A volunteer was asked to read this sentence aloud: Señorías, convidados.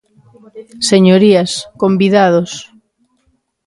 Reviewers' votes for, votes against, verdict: 2, 0, accepted